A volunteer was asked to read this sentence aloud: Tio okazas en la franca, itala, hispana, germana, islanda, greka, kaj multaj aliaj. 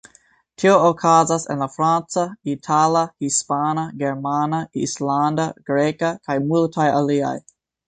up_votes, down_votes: 2, 1